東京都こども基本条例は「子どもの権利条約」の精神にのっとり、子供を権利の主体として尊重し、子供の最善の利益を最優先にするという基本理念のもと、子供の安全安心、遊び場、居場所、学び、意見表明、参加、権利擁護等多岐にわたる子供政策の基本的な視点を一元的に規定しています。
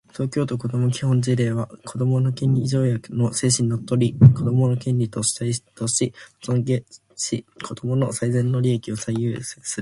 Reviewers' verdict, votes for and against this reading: accepted, 2, 1